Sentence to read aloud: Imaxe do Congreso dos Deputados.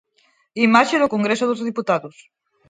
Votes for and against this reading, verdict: 4, 2, accepted